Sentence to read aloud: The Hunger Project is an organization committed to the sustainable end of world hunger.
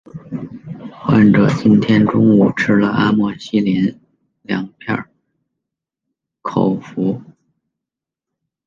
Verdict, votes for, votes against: rejected, 0, 2